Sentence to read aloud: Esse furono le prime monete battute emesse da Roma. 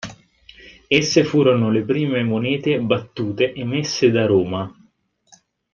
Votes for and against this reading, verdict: 2, 0, accepted